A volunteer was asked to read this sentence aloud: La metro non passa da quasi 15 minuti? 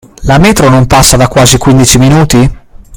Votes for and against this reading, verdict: 0, 2, rejected